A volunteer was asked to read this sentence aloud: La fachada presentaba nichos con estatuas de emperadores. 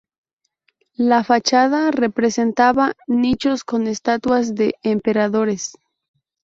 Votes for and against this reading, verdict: 0, 2, rejected